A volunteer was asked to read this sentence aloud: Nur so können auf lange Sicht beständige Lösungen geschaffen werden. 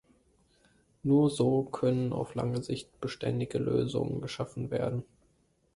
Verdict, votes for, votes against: accepted, 2, 0